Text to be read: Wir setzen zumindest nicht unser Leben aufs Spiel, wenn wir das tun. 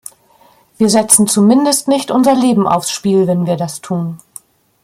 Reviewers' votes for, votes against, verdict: 2, 0, accepted